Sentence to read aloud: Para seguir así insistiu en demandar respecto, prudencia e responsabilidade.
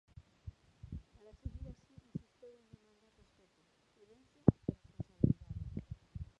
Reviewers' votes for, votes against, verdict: 0, 2, rejected